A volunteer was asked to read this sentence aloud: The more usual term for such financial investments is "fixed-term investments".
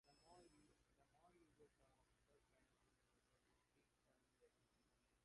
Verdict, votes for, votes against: rejected, 0, 2